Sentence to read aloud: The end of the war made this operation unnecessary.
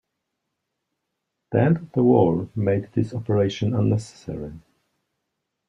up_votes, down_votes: 1, 2